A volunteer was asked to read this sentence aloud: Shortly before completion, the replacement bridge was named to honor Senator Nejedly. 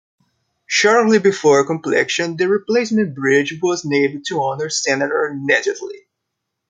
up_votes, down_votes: 2, 1